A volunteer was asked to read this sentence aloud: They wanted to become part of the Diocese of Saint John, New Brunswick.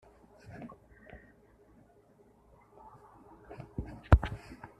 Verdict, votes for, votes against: rejected, 0, 2